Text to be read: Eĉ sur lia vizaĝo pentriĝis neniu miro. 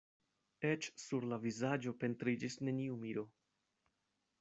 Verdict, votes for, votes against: rejected, 0, 2